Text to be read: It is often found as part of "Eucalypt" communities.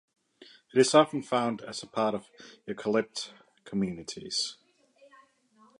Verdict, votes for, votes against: rejected, 1, 2